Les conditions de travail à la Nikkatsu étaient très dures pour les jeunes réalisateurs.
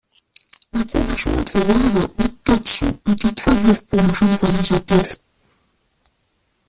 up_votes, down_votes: 0, 2